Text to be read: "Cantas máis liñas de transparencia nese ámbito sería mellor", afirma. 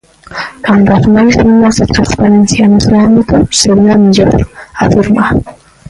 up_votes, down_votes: 0, 2